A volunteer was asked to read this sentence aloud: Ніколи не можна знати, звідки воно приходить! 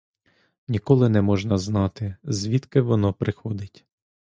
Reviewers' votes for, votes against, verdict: 2, 0, accepted